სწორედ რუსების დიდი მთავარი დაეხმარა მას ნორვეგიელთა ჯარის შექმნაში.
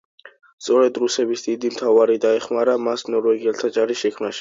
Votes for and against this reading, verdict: 2, 0, accepted